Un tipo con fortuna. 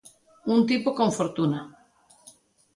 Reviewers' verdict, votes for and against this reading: accepted, 2, 1